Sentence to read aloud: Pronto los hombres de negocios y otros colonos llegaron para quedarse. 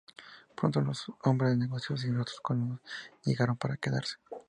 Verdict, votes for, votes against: rejected, 0, 2